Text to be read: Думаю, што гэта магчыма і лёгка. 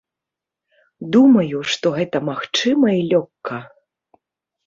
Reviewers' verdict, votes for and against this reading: rejected, 0, 2